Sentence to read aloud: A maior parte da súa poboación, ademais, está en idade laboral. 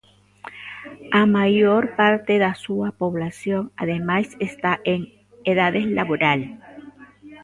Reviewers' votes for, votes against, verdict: 0, 2, rejected